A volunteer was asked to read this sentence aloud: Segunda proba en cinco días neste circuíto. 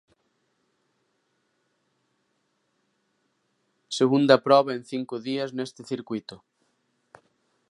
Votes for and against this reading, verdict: 2, 0, accepted